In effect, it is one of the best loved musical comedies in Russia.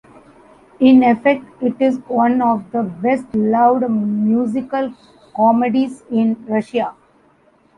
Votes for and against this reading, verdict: 1, 2, rejected